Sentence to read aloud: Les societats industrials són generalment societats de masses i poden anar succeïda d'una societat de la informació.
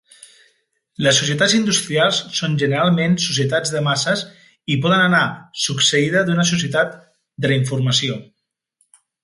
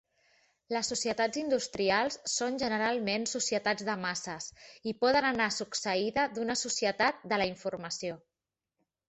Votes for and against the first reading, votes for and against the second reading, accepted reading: 1, 2, 3, 0, second